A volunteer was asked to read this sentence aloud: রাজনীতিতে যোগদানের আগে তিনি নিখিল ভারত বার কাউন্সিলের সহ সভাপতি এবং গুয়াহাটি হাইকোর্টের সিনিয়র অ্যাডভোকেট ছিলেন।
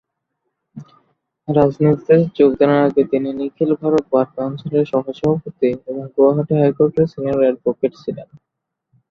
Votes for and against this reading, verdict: 2, 0, accepted